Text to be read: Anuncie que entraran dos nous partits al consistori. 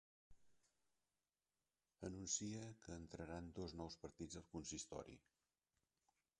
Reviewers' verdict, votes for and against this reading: rejected, 1, 2